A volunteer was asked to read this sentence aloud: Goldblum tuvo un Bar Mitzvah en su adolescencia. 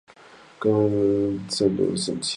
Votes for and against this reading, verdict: 0, 4, rejected